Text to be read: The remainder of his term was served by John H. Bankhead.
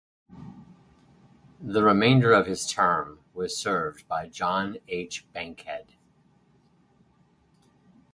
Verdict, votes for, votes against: accepted, 4, 0